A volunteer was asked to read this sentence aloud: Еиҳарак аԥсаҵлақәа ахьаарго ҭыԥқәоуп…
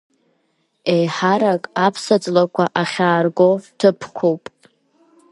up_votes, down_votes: 2, 0